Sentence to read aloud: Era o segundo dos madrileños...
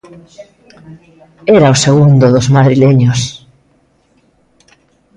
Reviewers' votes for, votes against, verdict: 0, 2, rejected